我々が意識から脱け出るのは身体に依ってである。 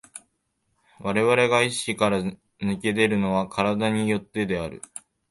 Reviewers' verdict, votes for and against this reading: rejected, 3, 3